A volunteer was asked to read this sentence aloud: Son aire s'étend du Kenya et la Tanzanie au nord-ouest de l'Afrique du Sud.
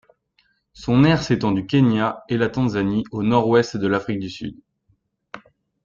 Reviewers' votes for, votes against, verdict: 2, 0, accepted